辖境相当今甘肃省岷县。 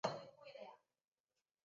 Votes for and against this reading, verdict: 3, 4, rejected